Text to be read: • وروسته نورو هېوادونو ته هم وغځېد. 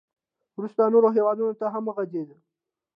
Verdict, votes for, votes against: accepted, 2, 0